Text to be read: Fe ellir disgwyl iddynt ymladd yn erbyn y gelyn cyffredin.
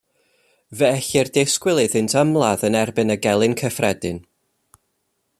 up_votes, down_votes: 2, 0